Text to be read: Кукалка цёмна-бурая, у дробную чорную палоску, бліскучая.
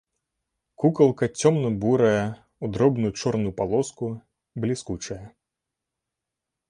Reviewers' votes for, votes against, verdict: 2, 0, accepted